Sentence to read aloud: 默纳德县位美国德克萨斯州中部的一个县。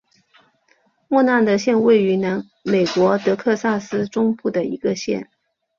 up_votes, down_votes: 1, 2